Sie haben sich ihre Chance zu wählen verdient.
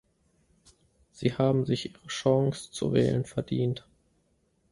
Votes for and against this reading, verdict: 0, 2, rejected